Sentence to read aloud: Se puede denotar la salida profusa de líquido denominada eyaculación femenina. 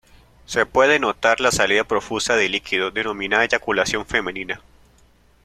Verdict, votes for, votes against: rejected, 0, 2